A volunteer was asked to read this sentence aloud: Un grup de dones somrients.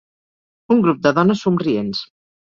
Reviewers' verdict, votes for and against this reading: accepted, 2, 0